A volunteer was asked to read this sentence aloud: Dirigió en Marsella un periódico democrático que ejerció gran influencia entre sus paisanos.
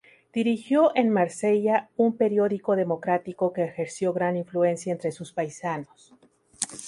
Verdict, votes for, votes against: rejected, 2, 2